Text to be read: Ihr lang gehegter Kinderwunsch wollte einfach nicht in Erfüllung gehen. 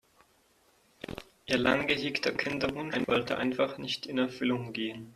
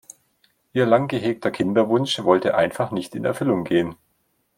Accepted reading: second